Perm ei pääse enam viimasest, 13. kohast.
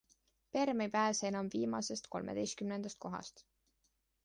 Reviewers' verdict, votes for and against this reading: rejected, 0, 2